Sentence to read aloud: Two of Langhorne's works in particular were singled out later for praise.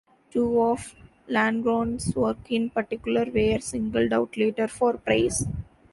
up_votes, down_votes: 1, 2